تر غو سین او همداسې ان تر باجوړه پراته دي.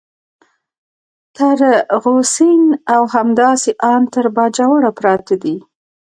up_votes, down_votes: 2, 1